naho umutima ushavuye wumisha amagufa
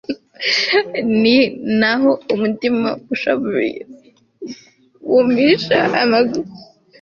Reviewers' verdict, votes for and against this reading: rejected, 1, 2